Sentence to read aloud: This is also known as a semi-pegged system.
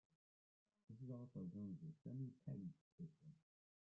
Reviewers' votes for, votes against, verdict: 0, 2, rejected